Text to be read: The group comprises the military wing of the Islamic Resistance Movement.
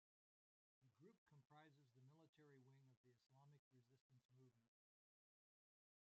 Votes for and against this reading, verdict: 0, 2, rejected